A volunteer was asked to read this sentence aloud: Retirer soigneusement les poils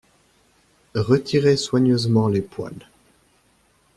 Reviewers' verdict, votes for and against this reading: accepted, 2, 0